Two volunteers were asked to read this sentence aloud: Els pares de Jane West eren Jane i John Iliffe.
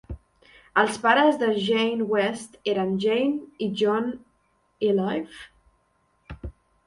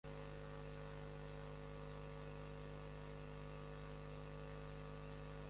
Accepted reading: first